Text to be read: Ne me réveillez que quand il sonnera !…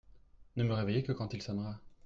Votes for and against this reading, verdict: 1, 2, rejected